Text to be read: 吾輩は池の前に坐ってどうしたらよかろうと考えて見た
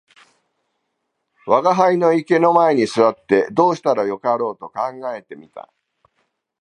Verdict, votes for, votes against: rejected, 1, 2